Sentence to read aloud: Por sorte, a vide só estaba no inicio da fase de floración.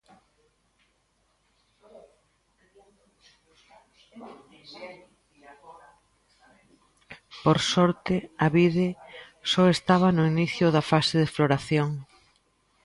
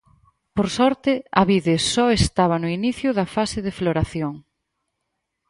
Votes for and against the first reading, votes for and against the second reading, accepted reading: 0, 2, 4, 0, second